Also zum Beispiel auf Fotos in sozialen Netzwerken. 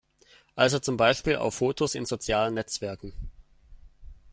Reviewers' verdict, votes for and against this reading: accepted, 2, 0